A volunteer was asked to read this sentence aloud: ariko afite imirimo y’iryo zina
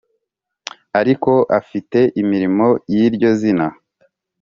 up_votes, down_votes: 2, 0